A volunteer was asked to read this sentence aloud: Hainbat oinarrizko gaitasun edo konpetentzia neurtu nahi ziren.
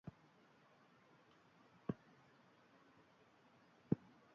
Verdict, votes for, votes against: rejected, 0, 2